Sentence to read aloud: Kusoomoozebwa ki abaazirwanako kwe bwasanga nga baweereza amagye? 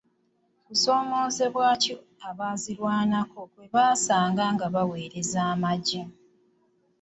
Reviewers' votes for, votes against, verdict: 0, 2, rejected